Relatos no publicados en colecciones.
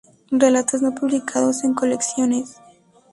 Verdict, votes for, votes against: accepted, 2, 0